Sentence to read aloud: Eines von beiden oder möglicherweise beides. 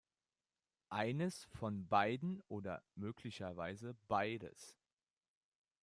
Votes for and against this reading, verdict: 2, 1, accepted